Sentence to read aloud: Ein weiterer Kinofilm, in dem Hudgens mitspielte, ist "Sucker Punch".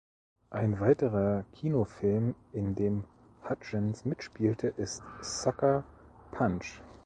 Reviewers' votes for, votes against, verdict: 2, 0, accepted